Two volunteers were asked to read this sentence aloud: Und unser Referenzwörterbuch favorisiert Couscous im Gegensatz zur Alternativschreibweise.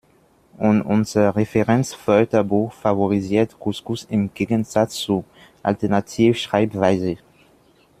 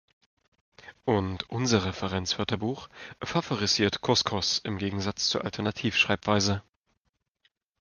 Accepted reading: second